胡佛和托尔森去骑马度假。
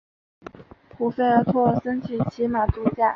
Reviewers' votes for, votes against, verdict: 2, 0, accepted